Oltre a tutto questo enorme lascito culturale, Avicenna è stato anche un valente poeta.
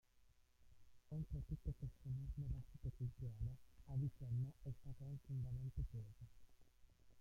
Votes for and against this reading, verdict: 0, 2, rejected